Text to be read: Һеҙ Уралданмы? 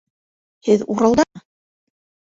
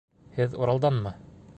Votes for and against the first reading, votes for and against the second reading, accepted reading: 1, 2, 2, 0, second